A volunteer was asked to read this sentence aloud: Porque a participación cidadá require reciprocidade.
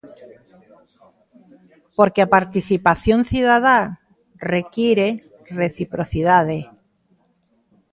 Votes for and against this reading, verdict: 2, 0, accepted